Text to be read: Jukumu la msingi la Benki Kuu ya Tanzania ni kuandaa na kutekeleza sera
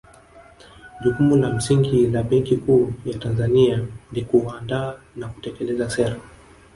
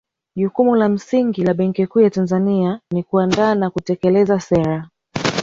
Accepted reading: second